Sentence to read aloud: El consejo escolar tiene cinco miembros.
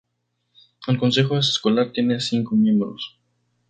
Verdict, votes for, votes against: accepted, 2, 0